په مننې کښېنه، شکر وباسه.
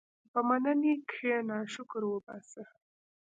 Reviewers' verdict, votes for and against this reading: rejected, 1, 2